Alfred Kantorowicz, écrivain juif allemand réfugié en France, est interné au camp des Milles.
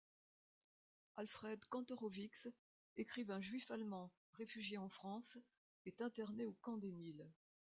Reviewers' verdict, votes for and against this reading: rejected, 1, 2